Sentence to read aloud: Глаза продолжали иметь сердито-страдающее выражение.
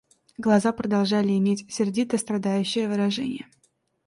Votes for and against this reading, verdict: 2, 0, accepted